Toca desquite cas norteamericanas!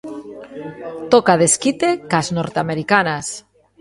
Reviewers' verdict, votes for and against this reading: rejected, 1, 2